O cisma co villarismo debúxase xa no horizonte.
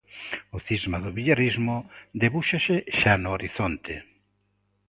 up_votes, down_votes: 0, 2